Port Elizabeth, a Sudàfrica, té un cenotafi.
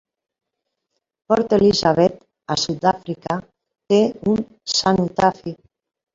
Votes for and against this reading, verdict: 2, 1, accepted